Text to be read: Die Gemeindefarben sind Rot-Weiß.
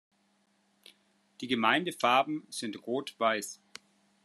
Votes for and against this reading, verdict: 2, 0, accepted